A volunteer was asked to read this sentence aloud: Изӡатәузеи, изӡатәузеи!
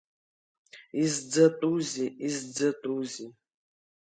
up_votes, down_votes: 2, 0